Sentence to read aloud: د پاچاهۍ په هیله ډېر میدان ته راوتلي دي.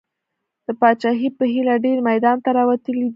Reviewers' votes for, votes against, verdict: 2, 0, accepted